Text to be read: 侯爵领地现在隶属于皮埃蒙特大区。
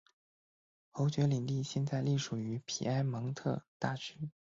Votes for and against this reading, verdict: 2, 0, accepted